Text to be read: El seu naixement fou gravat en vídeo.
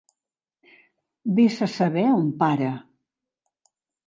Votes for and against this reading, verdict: 0, 2, rejected